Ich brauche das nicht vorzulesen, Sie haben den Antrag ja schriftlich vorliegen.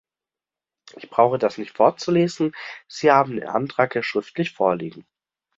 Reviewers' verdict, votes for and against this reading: accepted, 2, 0